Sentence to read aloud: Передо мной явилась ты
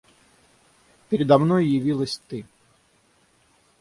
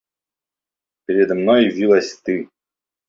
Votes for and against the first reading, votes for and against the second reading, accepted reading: 6, 0, 1, 2, first